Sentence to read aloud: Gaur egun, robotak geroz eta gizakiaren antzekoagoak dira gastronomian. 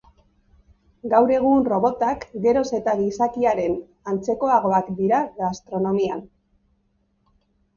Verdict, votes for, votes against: accepted, 2, 0